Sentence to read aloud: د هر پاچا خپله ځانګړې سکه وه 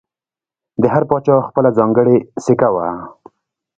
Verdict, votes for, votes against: accepted, 2, 1